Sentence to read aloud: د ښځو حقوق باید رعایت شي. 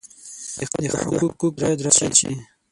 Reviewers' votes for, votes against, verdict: 9, 12, rejected